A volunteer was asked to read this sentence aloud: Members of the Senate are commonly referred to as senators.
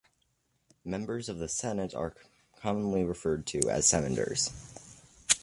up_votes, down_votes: 2, 0